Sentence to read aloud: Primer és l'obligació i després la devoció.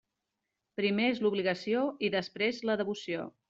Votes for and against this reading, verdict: 3, 0, accepted